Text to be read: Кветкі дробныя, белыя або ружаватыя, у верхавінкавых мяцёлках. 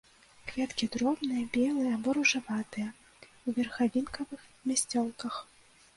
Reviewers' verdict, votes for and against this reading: rejected, 0, 2